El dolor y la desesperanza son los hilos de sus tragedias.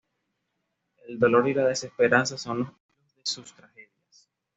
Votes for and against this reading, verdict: 1, 2, rejected